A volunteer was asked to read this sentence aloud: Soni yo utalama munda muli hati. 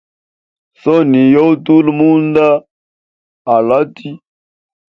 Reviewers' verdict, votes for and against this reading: rejected, 1, 2